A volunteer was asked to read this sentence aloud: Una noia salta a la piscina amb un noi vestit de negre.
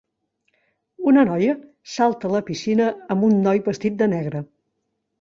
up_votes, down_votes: 3, 0